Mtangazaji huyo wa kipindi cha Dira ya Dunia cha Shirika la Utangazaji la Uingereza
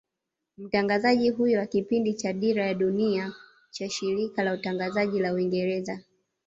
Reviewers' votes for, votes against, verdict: 3, 1, accepted